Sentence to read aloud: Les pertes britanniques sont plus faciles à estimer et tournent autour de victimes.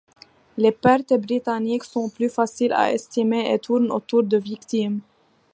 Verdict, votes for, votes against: accepted, 2, 0